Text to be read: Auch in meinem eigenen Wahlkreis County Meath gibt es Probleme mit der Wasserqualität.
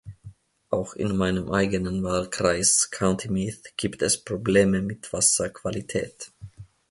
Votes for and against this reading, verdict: 0, 2, rejected